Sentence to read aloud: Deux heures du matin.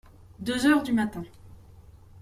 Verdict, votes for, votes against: accepted, 2, 0